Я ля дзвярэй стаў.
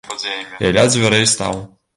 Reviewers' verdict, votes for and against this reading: rejected, 1, 2